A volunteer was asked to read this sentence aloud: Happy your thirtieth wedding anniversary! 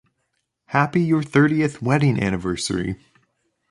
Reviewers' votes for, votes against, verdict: 2, 0, accepted